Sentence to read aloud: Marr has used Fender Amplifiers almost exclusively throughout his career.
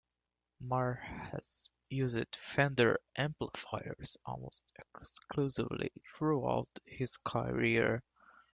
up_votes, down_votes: 1, 2